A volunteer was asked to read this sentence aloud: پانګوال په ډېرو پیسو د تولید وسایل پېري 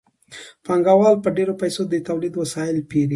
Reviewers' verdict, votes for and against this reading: accepted, 2, 0